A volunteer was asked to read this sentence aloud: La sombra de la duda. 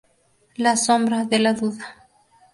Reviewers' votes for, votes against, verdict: 2, 0, accepted